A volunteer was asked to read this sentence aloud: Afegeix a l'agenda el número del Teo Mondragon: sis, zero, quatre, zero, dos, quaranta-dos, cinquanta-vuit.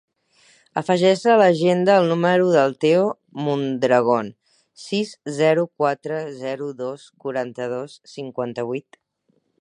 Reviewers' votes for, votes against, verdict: 4, 0, accepted